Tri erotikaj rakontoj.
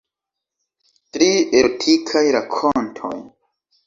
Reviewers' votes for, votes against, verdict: 2, 1, accepted